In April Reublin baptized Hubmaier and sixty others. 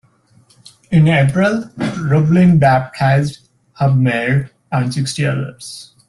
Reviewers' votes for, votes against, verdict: 2, 0, accepted